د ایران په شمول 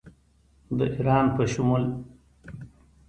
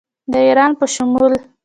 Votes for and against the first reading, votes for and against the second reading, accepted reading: 2, 0, 0, 2, first